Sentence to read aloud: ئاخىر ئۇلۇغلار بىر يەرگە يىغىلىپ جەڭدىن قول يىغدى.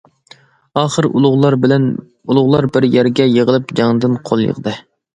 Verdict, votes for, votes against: rejected, 0, 2